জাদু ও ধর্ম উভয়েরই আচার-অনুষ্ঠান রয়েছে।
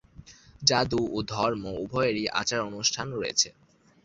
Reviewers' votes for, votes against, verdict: 2, 0, accepted